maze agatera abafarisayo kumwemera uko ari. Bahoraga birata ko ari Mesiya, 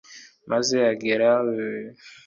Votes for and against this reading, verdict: 0, 2, rejected